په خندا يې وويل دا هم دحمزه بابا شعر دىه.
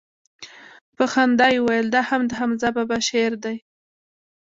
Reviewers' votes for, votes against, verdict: 2, 0, accepted